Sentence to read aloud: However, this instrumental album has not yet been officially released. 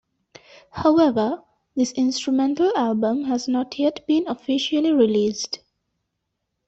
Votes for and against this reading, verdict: 2, 0, accepted